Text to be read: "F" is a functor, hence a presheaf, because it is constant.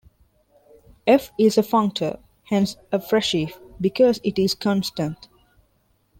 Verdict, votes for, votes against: rejected, 1, 2